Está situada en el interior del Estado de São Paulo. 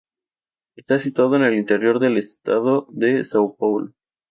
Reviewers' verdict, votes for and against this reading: accepted, 4, 0